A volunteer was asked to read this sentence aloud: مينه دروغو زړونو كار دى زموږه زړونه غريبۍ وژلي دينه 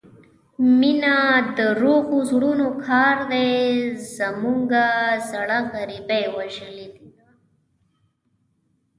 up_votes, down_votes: 0, 2